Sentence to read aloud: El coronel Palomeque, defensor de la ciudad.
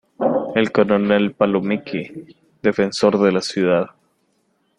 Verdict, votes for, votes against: accepted, 3, 0